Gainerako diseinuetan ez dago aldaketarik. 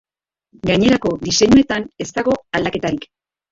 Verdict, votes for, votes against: rejected, 0, 2